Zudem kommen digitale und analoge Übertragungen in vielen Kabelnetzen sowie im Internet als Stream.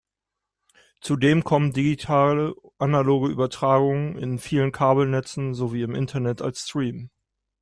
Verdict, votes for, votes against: rejected, 0, 2